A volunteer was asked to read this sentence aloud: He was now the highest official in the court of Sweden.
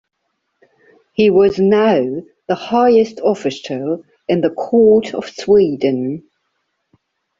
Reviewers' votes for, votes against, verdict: 2, 0, accepted